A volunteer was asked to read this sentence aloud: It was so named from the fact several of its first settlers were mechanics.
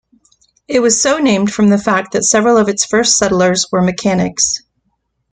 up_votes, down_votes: 1, 2